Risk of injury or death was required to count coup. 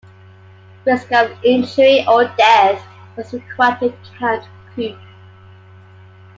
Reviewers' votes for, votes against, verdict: 1, 2, rejected